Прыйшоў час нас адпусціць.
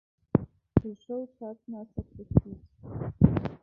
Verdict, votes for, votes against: rejected, 1, 2